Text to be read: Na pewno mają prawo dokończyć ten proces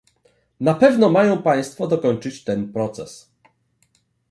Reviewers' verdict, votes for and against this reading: rejected, 1, 2